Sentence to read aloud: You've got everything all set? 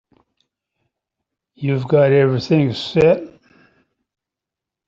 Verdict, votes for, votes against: rejected, 0, 3